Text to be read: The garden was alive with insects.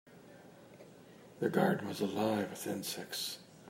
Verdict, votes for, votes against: accepted, 2, 1